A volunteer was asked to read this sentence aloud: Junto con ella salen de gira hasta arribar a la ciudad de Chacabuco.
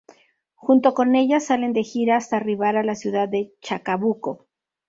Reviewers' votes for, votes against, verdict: 2, 0, accepted